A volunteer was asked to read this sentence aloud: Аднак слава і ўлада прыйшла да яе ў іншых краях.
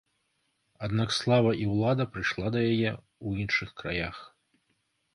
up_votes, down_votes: 2, 0